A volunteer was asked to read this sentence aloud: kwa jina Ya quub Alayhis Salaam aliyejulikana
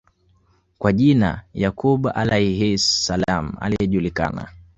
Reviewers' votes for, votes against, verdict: 2, 0, accepted